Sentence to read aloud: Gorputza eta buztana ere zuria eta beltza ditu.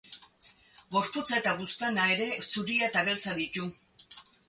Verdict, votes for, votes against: rejected, 0, 2